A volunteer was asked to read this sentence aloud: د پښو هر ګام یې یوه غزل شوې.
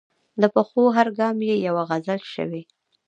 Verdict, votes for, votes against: rejected, 1, 2